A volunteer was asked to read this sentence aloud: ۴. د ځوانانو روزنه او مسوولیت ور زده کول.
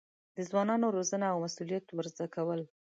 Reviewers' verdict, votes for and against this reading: rejected, 0, 2